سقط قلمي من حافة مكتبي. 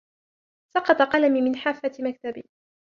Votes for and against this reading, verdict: 0, 2, rejected